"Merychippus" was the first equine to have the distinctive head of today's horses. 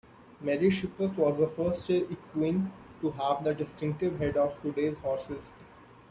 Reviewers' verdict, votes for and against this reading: rejected, 1, 2